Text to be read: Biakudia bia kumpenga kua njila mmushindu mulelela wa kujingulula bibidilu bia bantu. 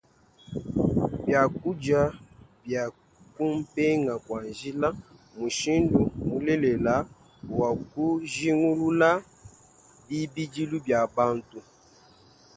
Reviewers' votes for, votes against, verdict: 2, 0, accepted